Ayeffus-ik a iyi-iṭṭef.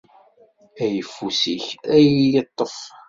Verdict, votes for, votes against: accepted, 2, 0